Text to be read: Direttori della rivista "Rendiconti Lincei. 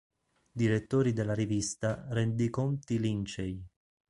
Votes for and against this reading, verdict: 3, 0, accepted